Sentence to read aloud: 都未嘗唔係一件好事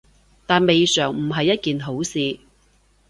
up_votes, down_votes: 1, 2